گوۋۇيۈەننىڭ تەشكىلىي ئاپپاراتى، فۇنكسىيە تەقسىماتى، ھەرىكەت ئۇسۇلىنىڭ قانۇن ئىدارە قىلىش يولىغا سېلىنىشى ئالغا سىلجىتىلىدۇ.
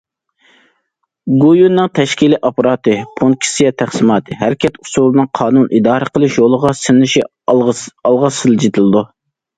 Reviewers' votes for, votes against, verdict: 0, 2, rejected